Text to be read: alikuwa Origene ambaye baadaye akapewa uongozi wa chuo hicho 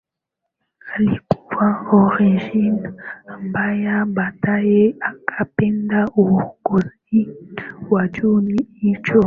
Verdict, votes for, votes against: accepted, 18, 7